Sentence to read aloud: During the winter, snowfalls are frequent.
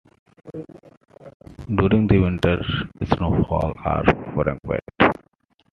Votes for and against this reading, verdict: 1, 2, rejected